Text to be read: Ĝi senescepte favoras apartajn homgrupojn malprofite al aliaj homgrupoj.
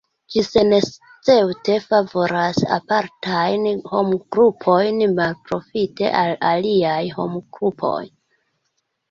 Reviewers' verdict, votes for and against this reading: rejected, 1, 2